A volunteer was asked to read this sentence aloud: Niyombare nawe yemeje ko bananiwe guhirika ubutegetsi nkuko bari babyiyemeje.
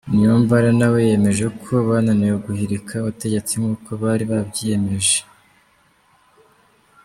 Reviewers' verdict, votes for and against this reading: accepted, 2, 0